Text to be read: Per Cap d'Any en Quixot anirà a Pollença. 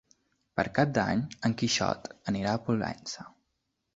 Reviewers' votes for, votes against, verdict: 2, 1, accepted